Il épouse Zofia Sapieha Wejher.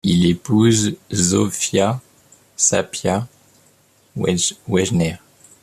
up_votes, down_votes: 1, 2